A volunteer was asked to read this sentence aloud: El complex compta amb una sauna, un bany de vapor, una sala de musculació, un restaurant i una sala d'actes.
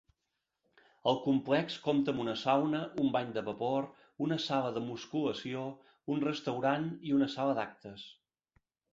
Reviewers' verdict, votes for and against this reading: accepted, 3, 0